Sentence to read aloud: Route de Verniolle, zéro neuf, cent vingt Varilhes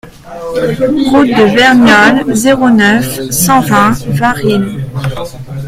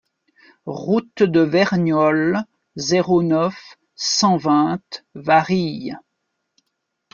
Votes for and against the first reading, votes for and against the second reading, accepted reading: 0, 2, 2, 0, second